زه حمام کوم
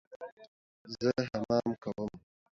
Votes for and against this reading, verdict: 2, 0, accepted